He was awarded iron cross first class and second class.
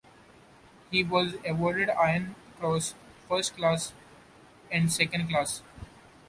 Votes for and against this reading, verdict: 1, 2, rejected